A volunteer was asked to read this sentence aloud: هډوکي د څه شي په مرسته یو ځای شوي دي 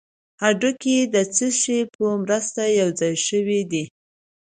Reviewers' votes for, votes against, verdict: 2, 0, accepted